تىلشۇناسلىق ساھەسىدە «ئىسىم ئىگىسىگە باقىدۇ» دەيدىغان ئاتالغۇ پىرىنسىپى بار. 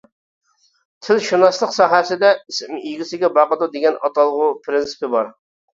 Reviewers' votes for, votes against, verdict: 1, 2, rejected